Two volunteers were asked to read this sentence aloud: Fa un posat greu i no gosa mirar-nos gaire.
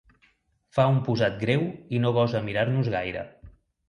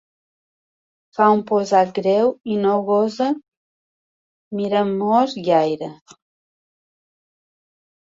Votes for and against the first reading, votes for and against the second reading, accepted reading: 2, 0, 1, 3, first